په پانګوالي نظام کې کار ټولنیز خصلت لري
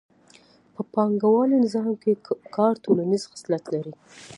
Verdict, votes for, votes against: accepted, 2, 0